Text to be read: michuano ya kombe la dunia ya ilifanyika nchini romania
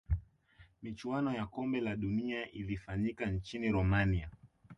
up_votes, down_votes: 1, 2